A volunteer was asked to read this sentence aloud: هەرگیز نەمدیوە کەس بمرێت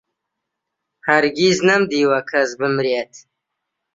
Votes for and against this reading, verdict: 2, 0, accepted